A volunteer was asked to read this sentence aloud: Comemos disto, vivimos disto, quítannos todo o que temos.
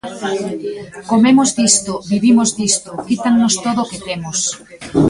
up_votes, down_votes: 2, 1